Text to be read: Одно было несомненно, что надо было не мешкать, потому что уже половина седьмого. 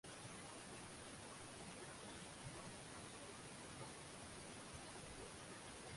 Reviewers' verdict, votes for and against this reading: rejected, 0, 2